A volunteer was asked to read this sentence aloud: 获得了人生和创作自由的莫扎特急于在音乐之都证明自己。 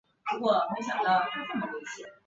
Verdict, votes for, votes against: rejected, 0, 3